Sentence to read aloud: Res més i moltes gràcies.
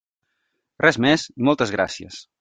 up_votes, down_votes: 1, 2